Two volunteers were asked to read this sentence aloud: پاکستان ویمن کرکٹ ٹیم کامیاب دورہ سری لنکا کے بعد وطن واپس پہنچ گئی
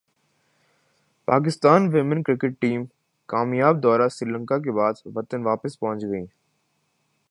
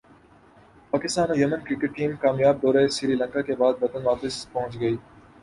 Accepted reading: second